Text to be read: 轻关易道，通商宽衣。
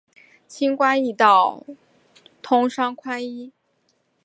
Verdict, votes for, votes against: accepted, 5, 0